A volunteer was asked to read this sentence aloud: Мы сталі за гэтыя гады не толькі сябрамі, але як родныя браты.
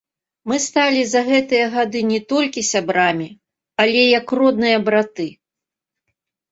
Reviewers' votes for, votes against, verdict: 2, 0, accepted